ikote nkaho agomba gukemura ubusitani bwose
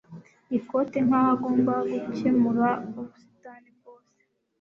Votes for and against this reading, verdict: 1, 2, rejected